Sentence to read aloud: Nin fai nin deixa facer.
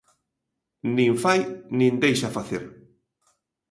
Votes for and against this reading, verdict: 2, 0, accepted